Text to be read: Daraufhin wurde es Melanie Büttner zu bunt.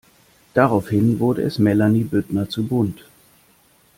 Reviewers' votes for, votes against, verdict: 2, 0, accepted